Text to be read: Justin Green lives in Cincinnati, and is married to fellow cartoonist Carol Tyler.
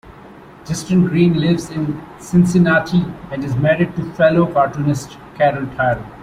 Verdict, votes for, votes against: accepted, 2, 0